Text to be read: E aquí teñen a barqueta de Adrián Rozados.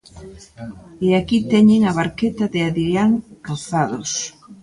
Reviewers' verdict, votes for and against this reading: accepted, 2, 0